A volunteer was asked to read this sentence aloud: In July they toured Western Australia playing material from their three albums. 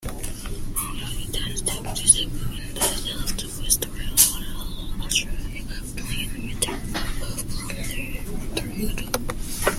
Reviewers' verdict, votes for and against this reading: rejected, 0, 2